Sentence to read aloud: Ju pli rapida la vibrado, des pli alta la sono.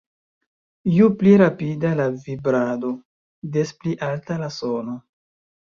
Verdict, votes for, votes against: accepted, 2, 0